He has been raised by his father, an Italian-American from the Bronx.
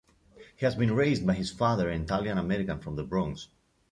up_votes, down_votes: 2, 0